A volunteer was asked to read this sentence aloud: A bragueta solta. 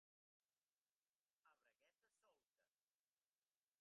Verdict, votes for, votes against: accepted, 2, 1